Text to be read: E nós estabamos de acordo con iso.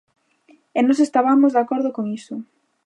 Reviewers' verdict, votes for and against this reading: accepted, 2, 0